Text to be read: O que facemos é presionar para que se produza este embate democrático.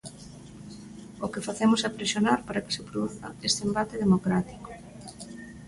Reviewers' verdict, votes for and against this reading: accepted, 2, 0